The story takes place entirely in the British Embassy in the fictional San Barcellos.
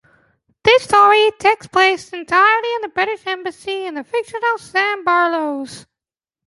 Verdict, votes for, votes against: rejected, 0, 2